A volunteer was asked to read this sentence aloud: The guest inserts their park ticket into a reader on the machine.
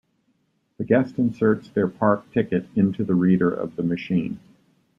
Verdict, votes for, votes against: rejected, 0, 2